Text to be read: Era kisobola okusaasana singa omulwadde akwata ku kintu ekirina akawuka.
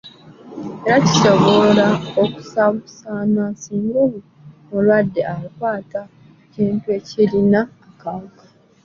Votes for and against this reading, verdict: 1, 2, rejected